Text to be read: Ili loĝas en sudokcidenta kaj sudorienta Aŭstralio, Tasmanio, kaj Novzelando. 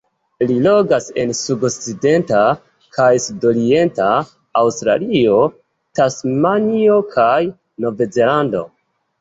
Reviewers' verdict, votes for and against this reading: rejected, 1, 2